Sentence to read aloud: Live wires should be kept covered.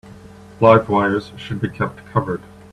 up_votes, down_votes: 2, 0